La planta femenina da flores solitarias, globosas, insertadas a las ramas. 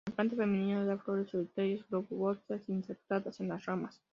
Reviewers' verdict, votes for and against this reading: rejected, 0, 2